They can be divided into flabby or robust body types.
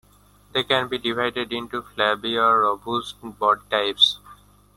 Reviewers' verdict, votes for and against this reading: accepted, 2, 1